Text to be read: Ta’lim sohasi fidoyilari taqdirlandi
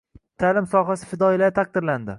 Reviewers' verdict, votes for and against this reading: rejected, 1, 2